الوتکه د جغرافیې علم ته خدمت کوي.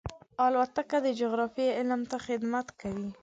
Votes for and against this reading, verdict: 2, 0, accepted